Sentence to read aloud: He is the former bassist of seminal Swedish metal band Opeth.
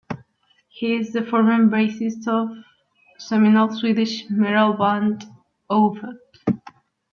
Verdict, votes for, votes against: accepted, 2, 1